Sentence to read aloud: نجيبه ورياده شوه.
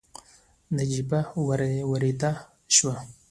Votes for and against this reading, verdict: 2, 0, accepted